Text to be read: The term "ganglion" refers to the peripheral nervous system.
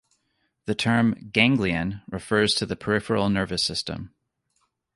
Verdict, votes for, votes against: accepted, 2, 0